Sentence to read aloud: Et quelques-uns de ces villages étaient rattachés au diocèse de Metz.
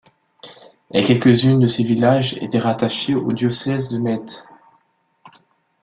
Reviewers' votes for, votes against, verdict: 0, 2, rejected